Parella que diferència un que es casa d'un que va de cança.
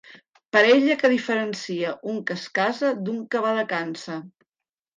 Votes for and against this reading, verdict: 1, 3, rejected